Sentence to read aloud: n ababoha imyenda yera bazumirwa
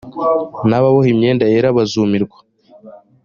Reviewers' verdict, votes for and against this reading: accepted, 2, 1